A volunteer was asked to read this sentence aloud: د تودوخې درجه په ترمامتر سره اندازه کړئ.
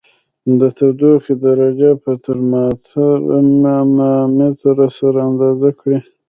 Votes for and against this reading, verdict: 1, 2, rejected